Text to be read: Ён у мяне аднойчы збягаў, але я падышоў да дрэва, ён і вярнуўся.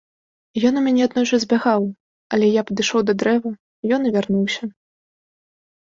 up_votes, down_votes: 2, 0